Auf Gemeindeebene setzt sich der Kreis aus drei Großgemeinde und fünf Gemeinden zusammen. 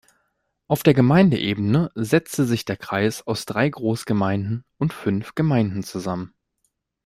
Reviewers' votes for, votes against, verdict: 0, 2, rejected